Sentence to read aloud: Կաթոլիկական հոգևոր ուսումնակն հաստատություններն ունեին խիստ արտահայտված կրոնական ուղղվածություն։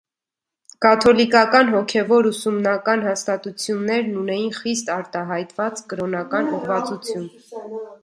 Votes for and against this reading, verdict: 1, 2, rejected